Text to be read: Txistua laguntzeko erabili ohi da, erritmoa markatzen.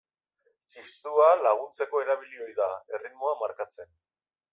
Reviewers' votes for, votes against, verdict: 1, 2, rejected